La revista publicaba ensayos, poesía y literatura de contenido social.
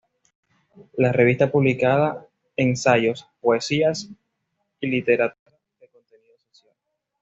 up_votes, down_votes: 1, 2